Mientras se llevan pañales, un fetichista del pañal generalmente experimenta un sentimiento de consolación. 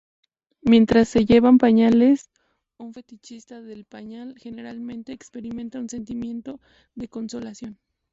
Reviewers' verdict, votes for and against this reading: accepted, 2, 0